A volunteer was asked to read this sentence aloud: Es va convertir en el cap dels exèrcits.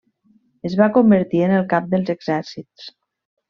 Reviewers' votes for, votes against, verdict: 3, 0, accepted